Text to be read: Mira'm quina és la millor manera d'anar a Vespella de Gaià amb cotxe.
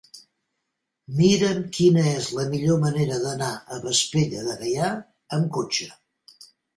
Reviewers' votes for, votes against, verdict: 2, 0, accepted